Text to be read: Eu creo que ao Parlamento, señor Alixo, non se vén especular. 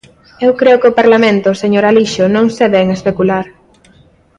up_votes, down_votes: 2, 0